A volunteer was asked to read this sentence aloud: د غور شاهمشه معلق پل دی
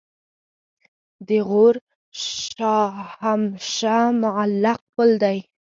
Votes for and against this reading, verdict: 4, 0, accepted